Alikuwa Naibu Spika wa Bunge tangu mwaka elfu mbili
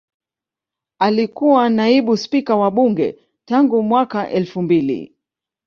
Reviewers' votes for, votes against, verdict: 1, 2, rejected